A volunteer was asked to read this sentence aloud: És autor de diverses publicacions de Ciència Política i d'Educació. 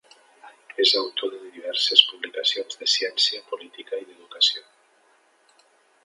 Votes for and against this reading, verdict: 3, 0, accepted